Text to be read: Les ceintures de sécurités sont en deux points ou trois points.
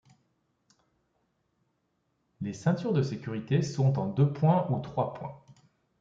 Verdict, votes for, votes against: accepted, 2, 0